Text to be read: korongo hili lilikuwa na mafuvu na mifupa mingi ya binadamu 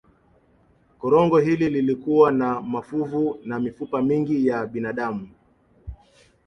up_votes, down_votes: 0, 3